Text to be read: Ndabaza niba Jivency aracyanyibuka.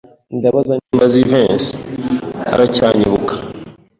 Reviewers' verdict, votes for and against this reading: accepted, 2, 1